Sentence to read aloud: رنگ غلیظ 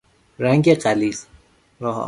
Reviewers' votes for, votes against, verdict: 0, 2, rejected